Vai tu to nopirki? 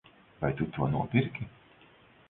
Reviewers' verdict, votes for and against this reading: accepted, 4, 0